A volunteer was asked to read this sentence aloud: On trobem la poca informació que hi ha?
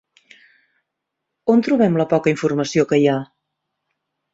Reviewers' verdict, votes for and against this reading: accepted, 3, 0